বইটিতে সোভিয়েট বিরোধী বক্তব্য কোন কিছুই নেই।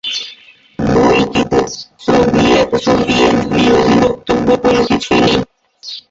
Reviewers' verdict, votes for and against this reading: rejected, 0, 2